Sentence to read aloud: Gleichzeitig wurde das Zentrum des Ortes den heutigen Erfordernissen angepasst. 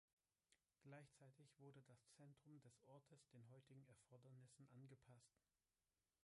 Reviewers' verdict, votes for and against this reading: rejected, 2, 3